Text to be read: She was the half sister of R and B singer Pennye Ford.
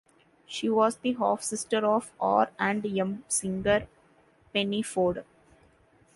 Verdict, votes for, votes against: rejected, 1, 2